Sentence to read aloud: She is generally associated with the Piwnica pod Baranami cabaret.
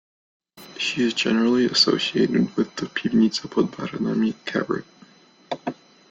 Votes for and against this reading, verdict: 2, 0, accepted